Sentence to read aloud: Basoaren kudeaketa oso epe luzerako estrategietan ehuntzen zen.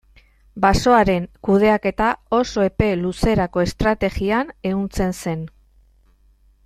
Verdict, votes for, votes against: rejected, 0, 2